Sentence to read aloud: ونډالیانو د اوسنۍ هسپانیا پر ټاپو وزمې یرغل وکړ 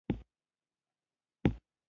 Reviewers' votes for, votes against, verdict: 0, 2, rejected